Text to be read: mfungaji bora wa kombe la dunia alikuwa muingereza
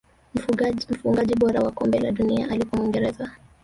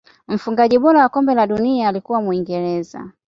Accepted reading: second